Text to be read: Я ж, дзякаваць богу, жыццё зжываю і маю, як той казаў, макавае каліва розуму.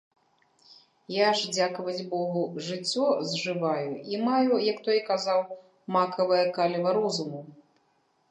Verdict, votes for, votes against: rejected, 1, 2